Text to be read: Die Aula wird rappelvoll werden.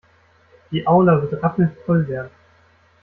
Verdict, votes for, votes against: rejected, 0, 2